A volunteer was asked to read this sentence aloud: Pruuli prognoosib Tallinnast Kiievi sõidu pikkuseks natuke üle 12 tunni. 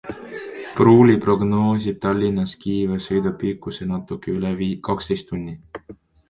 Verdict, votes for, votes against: rejected, 0, 2